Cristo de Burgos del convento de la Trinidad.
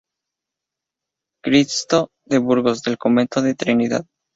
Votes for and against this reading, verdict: 0, 2, rejected